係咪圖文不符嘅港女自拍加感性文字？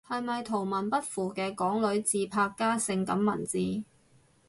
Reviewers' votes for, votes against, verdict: 0, 2, rejected